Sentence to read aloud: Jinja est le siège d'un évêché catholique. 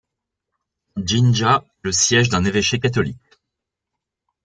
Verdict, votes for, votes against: rejected, 0, 3